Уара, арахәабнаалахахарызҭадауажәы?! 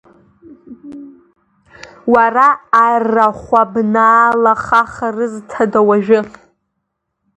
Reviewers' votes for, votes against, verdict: 2, 0, accepted